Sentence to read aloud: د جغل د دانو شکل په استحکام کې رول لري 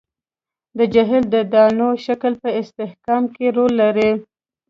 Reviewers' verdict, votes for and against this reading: rejected, 0, 2